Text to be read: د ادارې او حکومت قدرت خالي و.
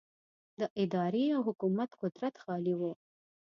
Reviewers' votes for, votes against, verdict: 2, 0, accepted